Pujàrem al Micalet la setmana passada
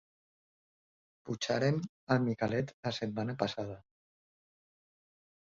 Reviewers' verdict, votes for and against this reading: rejected, 2, 2